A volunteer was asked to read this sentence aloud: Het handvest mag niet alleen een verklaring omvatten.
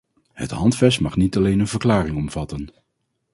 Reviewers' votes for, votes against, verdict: 4, 0, accepted